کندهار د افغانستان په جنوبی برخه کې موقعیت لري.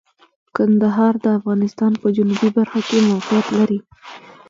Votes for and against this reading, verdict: 1, 2, rejected